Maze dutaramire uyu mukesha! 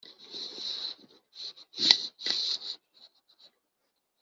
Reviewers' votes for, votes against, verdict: 0, 3, rejected